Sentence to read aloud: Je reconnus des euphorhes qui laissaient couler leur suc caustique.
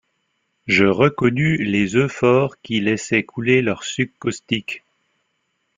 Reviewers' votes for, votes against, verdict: 2, 3, rejected